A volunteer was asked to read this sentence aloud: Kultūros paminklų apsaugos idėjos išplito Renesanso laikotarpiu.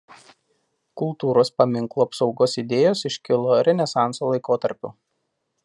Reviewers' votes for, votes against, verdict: 0, 2, rejected